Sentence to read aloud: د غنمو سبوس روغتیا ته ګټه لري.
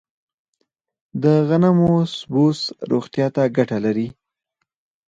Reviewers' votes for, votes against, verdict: 4, 0, accepted